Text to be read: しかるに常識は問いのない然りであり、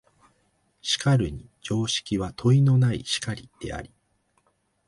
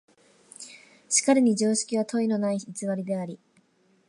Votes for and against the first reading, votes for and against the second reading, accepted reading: 2, 0, 1, 2, first